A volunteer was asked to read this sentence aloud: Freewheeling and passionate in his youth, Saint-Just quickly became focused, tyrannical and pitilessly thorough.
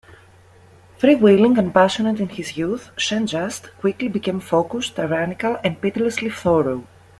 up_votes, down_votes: 1, 2